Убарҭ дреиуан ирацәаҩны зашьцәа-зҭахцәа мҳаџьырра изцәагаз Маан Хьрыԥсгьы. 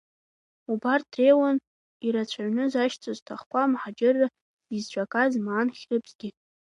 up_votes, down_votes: 2, 1